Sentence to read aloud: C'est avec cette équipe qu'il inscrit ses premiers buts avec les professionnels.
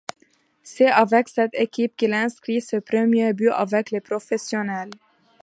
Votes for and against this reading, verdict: 2, 1, accepted